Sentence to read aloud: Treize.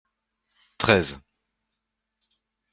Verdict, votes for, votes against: accepted, 2, 0